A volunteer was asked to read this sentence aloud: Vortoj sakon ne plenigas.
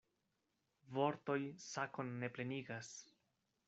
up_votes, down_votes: 2, 0